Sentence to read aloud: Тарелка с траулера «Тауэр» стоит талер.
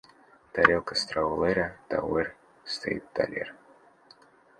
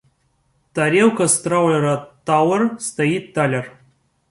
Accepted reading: second